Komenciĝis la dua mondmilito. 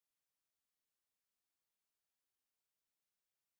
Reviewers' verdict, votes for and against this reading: rejected, 0, 2